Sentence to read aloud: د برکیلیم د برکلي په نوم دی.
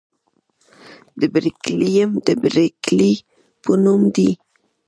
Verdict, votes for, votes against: accepted, 2, 0